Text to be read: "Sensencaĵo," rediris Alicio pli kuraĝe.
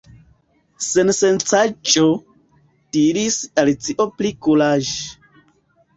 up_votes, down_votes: 1, 2